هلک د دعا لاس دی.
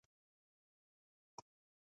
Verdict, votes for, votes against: rejected, 0, 2